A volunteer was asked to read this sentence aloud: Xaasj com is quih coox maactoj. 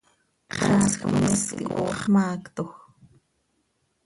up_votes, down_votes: 1, 2